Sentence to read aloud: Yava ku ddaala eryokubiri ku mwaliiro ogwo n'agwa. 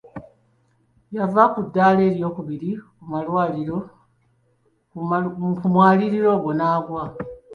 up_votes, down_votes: 0, 2